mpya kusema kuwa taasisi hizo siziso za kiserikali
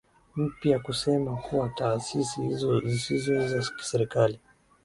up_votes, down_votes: 2, 0